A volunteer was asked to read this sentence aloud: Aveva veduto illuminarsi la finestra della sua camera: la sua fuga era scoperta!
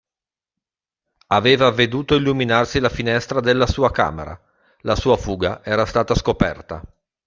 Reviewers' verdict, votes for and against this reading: rejected, 0, 2